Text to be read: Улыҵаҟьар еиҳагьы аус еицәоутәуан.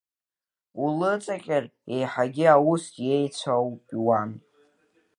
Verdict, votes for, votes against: rejected, 0, 2